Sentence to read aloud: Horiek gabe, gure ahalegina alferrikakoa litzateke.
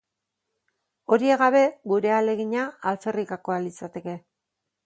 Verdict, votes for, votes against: accepted, 4, 0